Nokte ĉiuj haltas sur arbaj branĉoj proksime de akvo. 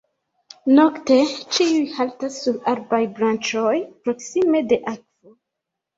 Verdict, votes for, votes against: rejected, 1, 2